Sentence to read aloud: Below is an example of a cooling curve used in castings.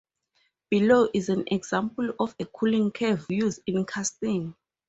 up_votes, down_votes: 2, 0